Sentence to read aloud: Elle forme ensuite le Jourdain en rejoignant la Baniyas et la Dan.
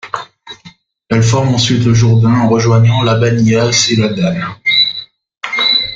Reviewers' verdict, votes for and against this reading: rejected, 1, 2